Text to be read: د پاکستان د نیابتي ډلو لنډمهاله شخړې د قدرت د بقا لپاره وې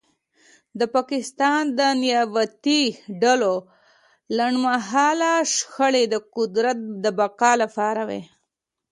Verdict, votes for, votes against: accepted, 2, 0